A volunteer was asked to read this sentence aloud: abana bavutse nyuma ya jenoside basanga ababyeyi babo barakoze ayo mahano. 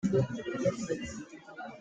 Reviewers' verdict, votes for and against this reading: rejected, 0, 2